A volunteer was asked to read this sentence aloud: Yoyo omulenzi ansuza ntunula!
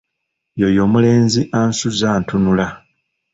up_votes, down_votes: 1, 2